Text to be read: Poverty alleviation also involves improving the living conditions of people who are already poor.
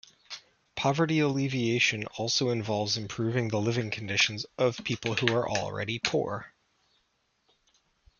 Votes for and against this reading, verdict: 2, 0, accepted